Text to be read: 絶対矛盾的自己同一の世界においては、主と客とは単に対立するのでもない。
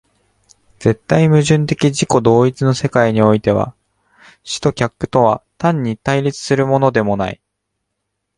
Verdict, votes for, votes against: rejected, 1, 2